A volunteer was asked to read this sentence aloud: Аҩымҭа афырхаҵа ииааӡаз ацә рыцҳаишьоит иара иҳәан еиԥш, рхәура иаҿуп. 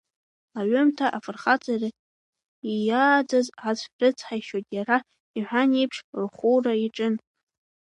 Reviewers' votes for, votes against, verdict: 0, 2, rejected